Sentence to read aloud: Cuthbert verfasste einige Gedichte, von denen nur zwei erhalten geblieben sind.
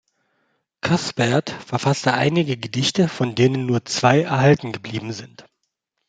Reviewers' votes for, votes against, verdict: 2, 0, accepted